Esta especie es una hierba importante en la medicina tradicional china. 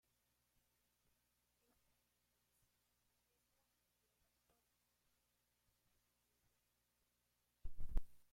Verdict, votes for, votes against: rejected, 0, 2